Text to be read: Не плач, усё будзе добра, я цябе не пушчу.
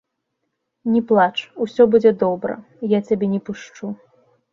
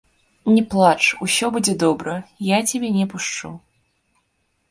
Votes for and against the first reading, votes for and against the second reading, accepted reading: 2, 0, 1, 2, first